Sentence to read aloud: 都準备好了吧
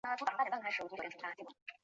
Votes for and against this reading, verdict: 0, 5, rejected